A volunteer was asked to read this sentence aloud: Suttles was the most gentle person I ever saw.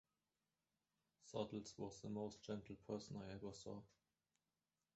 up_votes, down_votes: 2, 1